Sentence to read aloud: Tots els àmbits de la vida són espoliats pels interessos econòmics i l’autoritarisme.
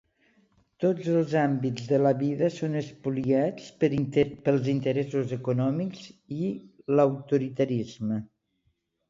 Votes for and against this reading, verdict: 1, 2, rejected